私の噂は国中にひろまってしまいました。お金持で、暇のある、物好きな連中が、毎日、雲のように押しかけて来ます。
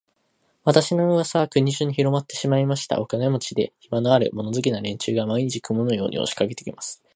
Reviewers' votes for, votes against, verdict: 2, 0, accepted